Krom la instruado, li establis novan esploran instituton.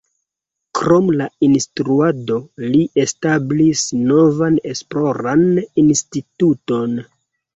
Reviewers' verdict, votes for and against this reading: accepted, 2, 1